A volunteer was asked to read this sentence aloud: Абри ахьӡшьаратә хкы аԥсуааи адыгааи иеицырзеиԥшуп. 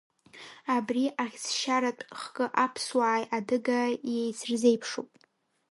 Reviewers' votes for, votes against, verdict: 2, 0, accepted